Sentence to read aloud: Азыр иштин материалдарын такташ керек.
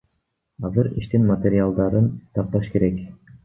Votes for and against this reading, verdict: 1, 2, rejected